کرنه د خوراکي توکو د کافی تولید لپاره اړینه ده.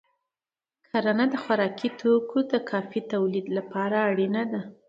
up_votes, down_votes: 2, 0